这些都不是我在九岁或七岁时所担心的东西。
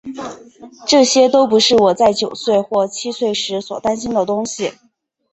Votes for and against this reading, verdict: 6, 0, accepted